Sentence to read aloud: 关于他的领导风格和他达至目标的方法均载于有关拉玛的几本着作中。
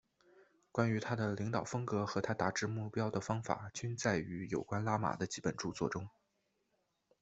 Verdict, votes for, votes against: accepted, 2, 1